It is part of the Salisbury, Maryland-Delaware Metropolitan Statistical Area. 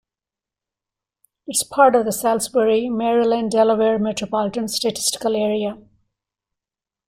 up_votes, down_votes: 1, 2